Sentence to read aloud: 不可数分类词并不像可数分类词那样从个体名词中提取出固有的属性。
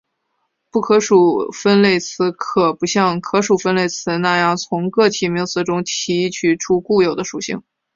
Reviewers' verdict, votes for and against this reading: rejected, 1, 2